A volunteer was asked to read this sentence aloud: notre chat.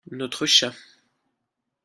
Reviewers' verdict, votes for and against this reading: accepted, 2, 0